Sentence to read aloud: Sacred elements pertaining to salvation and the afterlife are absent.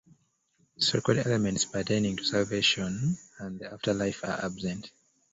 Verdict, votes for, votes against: rejected, 1, 2